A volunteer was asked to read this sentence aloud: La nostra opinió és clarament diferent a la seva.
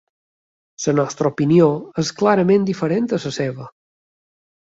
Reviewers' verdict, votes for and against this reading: rejected, 0, 2